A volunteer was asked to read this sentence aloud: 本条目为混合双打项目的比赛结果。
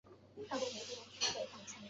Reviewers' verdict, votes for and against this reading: rejected, 0, 2